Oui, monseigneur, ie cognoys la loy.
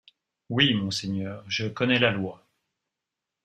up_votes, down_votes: 0, 2